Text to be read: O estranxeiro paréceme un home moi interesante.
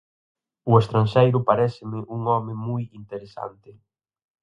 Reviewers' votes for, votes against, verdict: 4, 0, accepted